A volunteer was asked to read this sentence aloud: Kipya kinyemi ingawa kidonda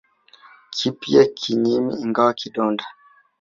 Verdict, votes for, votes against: accepted, 2, 1